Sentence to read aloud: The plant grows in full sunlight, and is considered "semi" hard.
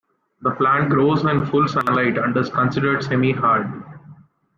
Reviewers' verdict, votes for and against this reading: accepted, 3, 1